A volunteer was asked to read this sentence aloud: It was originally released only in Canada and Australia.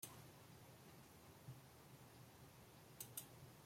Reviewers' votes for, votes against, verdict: 0, 2, rejected